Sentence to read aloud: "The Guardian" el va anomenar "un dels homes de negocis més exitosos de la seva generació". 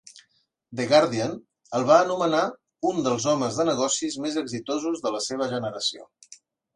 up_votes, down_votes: 2, 0